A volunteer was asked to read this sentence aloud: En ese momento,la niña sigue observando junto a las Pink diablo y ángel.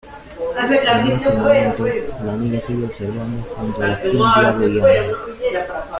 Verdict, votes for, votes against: rejected, 1, 2